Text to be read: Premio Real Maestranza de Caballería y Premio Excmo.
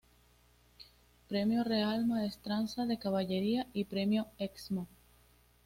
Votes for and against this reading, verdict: 2, 0, accepted